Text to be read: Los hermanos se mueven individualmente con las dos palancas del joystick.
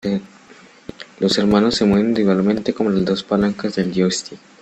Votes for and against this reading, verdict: 2, 0, accepted